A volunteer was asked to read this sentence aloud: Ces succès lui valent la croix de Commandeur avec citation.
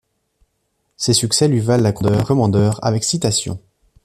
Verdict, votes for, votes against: rejected, 1, 2